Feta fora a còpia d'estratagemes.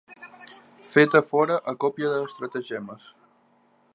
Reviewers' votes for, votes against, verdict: 0, 2, rejected